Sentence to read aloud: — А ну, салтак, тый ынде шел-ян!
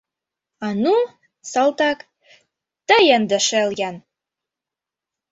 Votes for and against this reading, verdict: 2, 0, accepted